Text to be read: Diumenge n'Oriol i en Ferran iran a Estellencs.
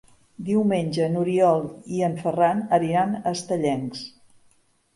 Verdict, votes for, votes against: rejected, 0, 2